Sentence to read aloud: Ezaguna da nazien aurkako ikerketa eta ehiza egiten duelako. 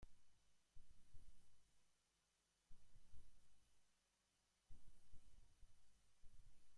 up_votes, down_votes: 0, 2